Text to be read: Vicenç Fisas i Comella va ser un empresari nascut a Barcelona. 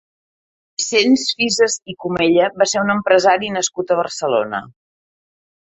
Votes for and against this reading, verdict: 1, 2, rejected